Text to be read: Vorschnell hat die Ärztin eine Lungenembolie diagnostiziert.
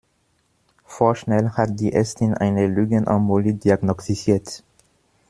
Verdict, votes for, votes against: rejected, 1, 2